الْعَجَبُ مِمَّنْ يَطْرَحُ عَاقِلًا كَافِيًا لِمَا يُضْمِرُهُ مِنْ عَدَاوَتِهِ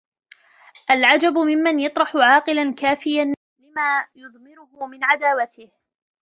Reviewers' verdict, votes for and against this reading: rejected, 1, 2